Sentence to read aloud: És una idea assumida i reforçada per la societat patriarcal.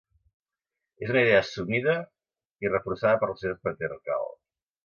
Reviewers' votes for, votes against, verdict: 0, 2, rejected